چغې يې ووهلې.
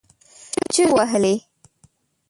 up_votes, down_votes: 0, 3